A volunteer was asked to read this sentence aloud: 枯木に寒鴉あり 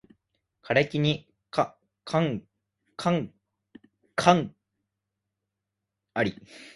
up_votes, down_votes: 0, 4